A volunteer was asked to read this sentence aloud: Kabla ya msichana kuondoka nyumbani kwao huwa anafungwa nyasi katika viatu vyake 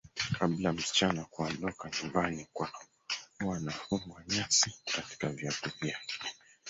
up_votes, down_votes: 0, 2